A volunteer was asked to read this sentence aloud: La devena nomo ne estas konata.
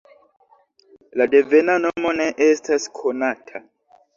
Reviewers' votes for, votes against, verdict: 0, 2, rejected